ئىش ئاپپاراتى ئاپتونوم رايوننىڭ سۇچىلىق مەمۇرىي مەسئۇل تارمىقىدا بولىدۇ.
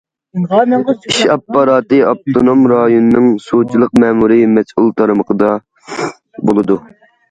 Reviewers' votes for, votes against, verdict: 0, 2, rejected